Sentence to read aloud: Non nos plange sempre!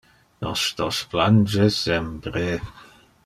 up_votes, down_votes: 1, 2